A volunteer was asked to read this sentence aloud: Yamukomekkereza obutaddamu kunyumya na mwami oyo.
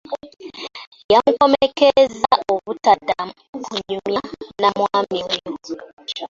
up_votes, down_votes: 1, 2